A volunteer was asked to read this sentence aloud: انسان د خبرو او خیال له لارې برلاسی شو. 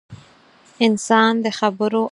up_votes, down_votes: 2, 4